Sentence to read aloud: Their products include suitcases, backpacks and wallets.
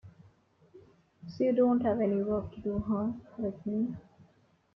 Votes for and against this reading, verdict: 0, 2, rejected